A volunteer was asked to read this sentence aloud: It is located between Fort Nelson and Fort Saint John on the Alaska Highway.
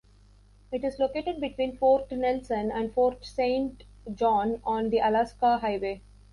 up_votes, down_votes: 2, 1